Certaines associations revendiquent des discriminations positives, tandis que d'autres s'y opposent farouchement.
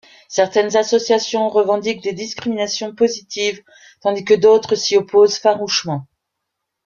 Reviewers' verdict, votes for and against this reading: accepted, 2, 1